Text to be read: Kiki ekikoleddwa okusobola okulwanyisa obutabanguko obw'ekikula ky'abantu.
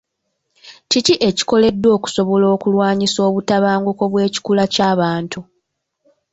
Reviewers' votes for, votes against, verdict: 1, 2, rejected